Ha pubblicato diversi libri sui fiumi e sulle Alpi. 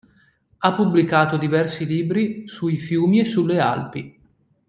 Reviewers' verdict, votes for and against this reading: accepted, 2, 0